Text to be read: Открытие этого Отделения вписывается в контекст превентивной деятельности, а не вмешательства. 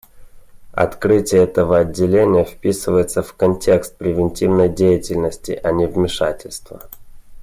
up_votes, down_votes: 2, 0